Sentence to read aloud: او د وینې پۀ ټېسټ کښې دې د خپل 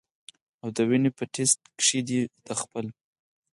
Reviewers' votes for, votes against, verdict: 6, 0, accepted